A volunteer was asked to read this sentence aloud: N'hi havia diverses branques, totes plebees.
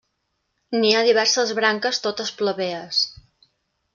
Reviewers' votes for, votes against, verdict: 1, 2, rejected